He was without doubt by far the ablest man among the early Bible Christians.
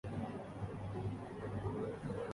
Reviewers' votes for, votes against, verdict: 0, 2, rejected